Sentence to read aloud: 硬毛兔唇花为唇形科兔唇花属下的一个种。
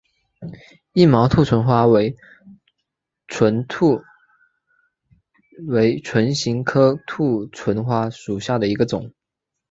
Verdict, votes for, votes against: rejected, 0, 2